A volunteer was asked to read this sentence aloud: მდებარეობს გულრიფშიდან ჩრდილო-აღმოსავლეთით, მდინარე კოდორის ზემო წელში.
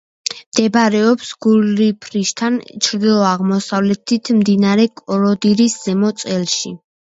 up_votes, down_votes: 0, 2